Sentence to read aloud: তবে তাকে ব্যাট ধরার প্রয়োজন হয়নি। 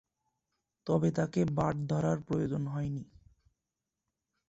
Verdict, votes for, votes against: rejected, 0, 2